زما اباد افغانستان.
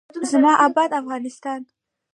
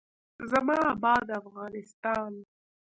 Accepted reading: first